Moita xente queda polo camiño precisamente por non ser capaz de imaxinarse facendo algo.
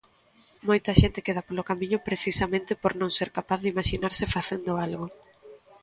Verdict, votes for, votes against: accepted, 2, 0